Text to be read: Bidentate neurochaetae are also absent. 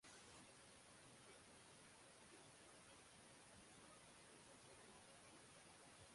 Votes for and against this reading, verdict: 0, 3, rejected